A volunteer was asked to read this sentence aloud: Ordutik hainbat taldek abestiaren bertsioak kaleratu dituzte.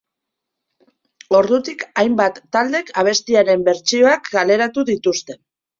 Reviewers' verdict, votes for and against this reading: accepted, 3, 0